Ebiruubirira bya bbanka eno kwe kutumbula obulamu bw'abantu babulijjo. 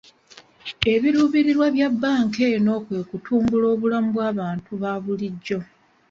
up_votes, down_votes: 2, 0